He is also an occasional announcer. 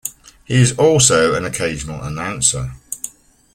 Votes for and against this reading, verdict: 2, 0, accepted